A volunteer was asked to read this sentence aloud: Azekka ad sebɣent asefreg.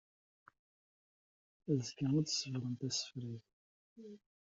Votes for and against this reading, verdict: 1, 2, rejected